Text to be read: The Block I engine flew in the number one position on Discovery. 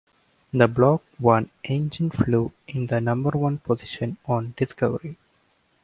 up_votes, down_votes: 2, 0